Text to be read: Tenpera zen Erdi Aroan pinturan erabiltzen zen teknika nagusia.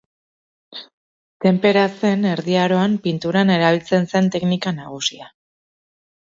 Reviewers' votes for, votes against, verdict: 2, 0, accepted